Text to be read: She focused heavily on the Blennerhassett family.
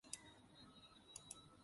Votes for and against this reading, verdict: 0, 2, rejected